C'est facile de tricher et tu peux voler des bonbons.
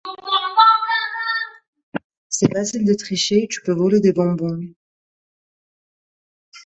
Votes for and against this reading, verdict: 0, 2, rejected